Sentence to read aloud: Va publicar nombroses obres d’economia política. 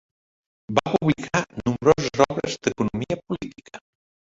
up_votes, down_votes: 0, 2